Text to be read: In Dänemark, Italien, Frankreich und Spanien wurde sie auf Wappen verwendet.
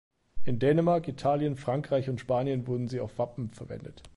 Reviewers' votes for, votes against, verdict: 1, 2, rejected